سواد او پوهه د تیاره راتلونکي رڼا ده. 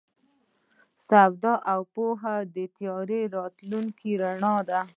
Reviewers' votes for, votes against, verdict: 1, 2, rejected